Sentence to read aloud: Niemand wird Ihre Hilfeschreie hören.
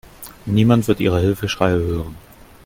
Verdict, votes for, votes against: accepted, 2, 0